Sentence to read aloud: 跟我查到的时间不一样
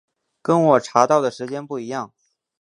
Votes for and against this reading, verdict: 6, 0, accepted